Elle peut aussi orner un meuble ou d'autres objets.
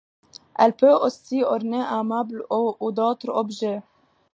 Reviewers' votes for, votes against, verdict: 0, 2, rejected